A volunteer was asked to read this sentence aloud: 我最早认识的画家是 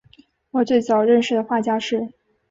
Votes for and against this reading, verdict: 3, 0, accepted